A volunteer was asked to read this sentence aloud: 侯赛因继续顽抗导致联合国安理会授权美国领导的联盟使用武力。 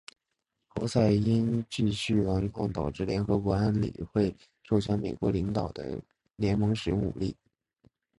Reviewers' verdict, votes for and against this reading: accepted, 2, 0